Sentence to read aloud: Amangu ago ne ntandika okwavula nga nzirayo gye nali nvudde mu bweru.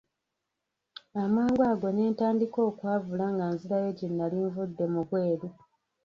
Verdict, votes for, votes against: rejected, 1, 2